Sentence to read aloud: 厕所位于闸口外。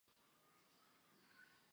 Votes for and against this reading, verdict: 2, 3, rejected